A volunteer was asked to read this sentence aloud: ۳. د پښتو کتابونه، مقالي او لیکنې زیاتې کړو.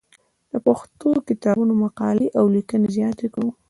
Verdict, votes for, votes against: rejected, 0, 2